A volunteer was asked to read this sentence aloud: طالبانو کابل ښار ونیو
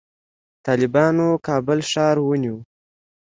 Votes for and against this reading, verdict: 2, 0, accepted